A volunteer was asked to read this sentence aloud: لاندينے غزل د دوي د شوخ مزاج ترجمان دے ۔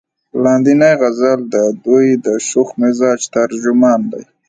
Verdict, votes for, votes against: accepted, 2, 0